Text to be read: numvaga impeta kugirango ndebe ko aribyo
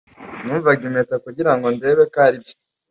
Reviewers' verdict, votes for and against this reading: accepted, 2, 0